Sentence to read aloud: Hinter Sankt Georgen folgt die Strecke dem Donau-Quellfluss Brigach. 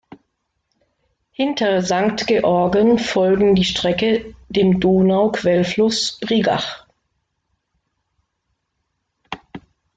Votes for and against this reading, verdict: 0, 2, rejected